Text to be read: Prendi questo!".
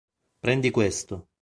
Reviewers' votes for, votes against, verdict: 2, 0, accepted